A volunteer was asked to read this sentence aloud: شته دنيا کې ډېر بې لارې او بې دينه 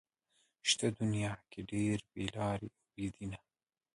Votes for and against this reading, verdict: 0, 2, rejected